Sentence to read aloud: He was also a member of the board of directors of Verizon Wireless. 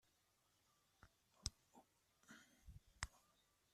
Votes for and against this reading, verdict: 0, 2, rejected